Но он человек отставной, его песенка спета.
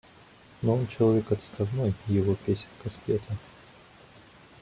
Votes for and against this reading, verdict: 0, 2, rejected